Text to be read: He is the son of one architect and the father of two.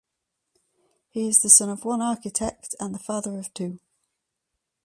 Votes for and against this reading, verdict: 2, 0, accepted